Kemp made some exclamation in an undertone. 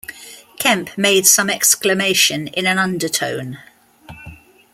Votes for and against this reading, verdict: 2, 0, accepted